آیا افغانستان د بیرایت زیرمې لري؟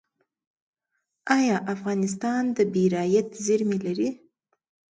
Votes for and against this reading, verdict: 1, 2, rejected